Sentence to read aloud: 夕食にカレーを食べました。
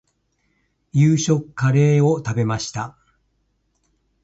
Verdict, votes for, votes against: rejected, 1, 2